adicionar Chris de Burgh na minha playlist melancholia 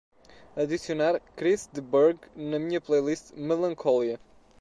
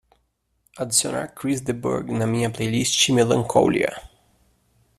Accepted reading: first